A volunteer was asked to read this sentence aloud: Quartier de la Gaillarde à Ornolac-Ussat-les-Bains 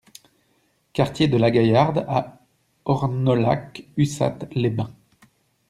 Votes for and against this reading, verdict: 1, 2, rejected